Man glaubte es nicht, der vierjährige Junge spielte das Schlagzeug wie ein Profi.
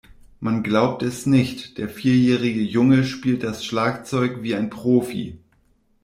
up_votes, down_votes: 0, 2